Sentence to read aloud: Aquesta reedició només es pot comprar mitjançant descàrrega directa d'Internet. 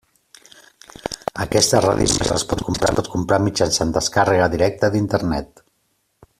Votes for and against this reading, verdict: 0, 2, rejected